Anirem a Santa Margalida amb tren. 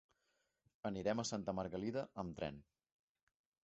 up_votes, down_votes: 6, 0